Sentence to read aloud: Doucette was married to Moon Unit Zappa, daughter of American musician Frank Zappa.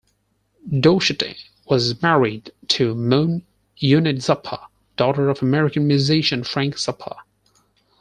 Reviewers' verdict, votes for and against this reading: rejected, 0, 4